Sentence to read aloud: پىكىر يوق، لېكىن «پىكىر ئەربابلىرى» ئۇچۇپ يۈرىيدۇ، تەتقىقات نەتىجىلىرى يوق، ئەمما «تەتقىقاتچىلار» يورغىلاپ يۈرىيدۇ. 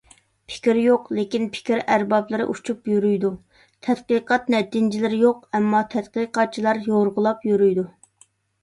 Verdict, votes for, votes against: accepted, 2, 1